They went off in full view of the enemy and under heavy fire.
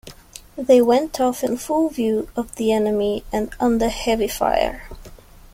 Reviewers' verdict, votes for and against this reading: accepted, 2, 0